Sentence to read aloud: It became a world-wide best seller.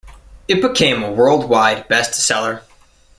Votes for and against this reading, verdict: 2, 0, accepted